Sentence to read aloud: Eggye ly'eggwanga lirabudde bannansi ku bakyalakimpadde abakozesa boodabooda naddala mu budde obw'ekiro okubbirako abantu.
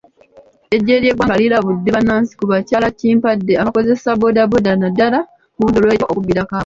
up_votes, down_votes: 0, 2